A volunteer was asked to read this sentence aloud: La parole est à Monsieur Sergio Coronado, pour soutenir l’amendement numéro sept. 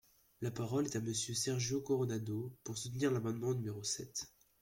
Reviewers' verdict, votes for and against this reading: accepted, 2, 1